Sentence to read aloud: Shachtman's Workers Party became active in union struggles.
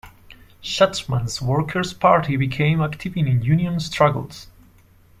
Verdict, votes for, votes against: rejected, 1, 2